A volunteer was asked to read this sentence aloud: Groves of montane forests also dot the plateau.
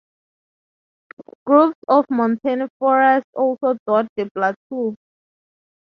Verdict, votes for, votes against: rejected, 0, 2